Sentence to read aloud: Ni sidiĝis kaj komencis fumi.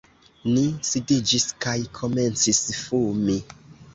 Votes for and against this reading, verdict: 2, 0, accepted